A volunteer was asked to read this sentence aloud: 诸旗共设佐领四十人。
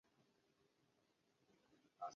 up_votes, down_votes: 0, 2